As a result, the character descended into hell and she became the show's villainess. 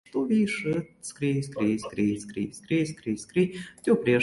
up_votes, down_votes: 0, 2